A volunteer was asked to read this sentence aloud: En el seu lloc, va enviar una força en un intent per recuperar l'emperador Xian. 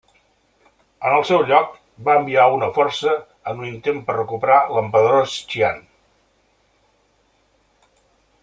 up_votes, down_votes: 0, 2